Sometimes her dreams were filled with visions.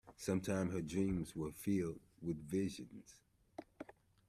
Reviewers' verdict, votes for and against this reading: rejected, 1, 2